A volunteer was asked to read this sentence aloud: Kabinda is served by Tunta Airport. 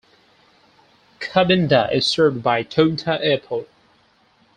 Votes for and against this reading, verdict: 4, 0, accepted